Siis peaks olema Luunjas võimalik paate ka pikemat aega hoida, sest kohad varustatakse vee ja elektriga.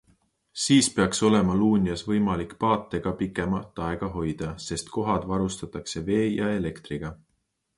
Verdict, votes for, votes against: accepted, 2, 0